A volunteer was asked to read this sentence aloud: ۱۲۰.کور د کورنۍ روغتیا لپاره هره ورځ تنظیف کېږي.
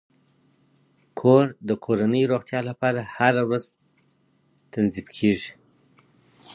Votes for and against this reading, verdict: 0, 2, rejected